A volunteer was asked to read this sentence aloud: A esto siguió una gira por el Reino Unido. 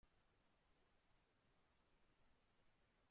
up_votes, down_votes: 0, 2